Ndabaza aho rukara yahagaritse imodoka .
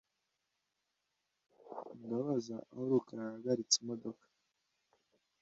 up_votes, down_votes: 2, 0